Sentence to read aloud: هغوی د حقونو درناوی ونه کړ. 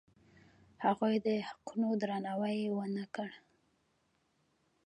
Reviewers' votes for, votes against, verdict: 1, 2, rejected